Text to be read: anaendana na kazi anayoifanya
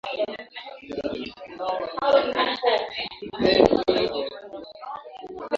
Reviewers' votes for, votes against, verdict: 0, 2, rejected